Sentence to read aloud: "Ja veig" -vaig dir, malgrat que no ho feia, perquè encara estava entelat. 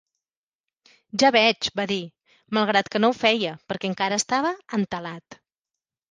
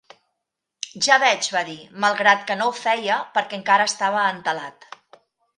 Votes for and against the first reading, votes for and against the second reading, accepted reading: 2, 1, 0, 2, first